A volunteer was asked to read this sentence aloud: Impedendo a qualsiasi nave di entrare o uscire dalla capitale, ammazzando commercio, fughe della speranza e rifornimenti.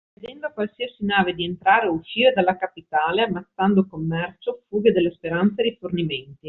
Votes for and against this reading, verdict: 2, 1, accepted